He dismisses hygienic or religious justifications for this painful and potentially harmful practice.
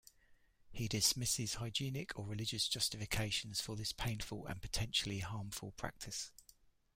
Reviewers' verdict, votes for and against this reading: rejected, 1, 2